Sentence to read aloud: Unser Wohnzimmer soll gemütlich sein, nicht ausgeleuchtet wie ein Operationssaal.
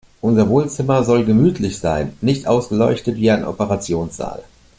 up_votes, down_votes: 2, 0